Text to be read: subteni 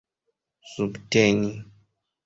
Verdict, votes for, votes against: accepted, 2, 0